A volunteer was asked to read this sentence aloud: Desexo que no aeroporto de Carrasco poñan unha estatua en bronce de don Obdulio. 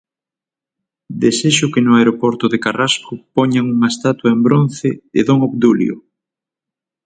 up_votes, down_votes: 6, 0